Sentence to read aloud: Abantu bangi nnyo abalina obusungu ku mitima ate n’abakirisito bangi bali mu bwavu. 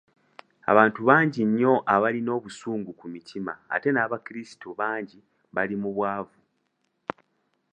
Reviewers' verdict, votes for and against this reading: accepted, 3, 0